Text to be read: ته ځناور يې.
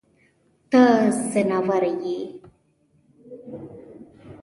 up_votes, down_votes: 0, 2